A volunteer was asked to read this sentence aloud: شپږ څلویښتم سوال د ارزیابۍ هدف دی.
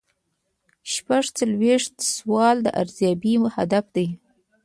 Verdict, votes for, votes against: rejected, 1, 2